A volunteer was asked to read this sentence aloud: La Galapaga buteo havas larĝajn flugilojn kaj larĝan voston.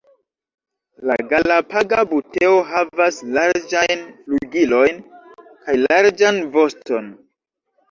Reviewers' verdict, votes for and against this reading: accepted, 2, 0